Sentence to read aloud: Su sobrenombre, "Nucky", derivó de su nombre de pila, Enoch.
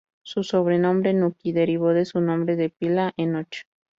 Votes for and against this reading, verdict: 2, 0, accepted